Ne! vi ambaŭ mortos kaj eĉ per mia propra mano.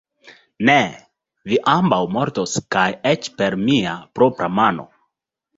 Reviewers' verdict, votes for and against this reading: accepted, 2, 0